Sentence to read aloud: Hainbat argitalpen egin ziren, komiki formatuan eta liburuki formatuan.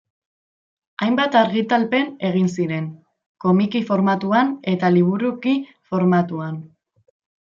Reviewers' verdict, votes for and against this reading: accepted, 2, 0